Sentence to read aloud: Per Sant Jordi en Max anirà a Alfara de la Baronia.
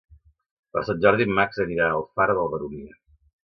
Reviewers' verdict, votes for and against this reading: accepted, 2, 1